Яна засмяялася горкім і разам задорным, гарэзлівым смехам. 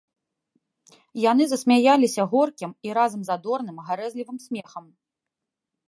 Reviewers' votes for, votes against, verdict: 0, 2, rejected